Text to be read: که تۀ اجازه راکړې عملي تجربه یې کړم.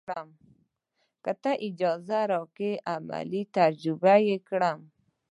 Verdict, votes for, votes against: rejected, 0, 2